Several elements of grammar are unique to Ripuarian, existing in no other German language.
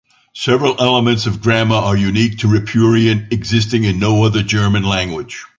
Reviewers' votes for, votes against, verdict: 2, 0, accepted